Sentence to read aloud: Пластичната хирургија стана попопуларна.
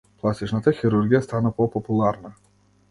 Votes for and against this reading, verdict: 2, 0, accepted